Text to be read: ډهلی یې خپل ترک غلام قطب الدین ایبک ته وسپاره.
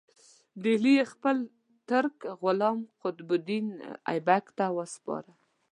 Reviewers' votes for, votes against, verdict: 2, 0, accepted